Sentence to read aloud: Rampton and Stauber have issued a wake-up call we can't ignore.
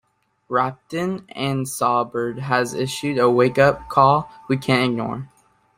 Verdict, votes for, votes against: rejected, 1, 2